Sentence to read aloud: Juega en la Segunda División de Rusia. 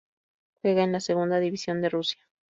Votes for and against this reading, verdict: 4, 0, accepted